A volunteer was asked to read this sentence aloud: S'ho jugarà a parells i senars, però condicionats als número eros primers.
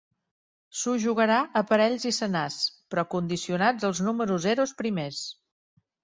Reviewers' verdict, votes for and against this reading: accepted, 2, 0